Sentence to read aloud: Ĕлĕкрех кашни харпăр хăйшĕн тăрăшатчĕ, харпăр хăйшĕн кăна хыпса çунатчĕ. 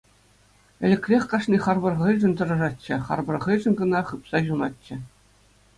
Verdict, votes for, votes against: accepted, 2, 0